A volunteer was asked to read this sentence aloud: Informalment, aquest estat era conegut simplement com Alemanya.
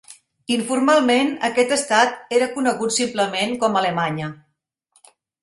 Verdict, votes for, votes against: accepted, 3, 0